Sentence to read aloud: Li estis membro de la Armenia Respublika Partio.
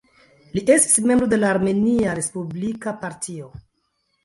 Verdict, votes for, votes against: rejected, 0, 2